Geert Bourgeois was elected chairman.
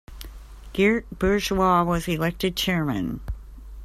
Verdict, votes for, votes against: accepted, 3, 0